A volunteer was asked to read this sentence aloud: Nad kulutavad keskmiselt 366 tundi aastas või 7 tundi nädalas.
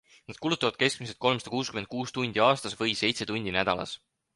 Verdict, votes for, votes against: rejected, 0, 2